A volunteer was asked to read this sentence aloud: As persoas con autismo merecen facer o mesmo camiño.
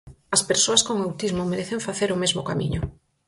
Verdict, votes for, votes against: accepted, 4, 0